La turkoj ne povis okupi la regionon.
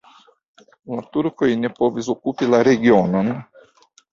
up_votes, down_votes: 1, 2